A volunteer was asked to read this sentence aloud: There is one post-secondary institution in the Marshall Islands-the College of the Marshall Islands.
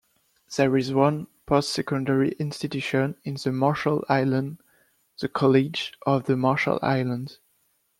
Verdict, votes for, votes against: accepted, 3, 2